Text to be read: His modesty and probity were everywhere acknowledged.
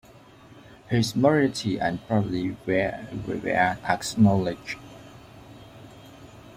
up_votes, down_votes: 0, 2